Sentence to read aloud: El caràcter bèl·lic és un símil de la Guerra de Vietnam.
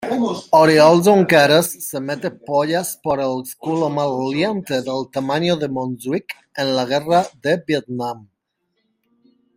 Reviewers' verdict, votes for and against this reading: rejected, 0, 2